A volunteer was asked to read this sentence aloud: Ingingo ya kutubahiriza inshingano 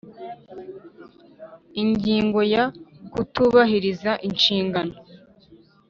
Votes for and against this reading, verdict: 2, 0, accepted